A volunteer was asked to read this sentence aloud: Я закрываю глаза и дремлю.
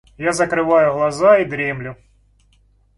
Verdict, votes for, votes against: accepted, 2, 0